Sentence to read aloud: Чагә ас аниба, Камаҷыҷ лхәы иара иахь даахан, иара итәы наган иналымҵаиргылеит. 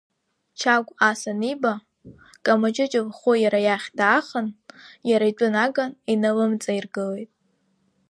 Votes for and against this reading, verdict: 2, 0, accepted